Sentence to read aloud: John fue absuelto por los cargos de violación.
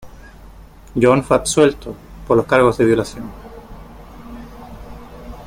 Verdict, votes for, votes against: rejected, 0, 3